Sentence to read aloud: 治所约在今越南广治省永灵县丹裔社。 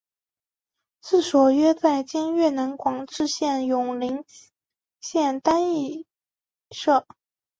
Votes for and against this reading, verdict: 3, 1, accepted